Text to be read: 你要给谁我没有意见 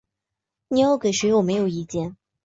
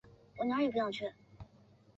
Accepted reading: first